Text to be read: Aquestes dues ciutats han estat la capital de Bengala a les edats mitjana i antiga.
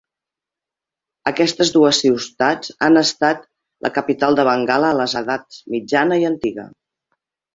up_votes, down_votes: 0, 2